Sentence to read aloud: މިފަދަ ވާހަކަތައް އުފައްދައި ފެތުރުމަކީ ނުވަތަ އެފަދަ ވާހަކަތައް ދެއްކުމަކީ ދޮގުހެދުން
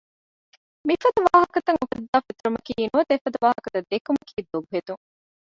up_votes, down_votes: 1, 2